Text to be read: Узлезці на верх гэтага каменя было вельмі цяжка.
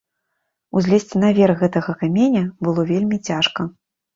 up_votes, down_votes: 2, 0